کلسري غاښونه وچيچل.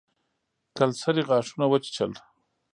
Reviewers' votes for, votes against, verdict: 2, 0, accepted